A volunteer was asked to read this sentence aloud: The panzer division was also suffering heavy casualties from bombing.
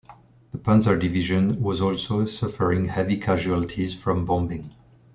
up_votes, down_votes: 2, 0